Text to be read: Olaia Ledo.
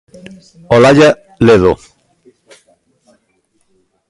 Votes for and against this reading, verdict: 0, 2, rejected